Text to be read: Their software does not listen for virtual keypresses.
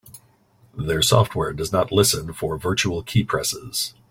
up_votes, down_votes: 3, 0